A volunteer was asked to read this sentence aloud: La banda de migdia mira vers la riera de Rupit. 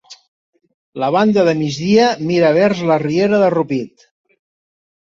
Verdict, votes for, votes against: accepted, 3, 1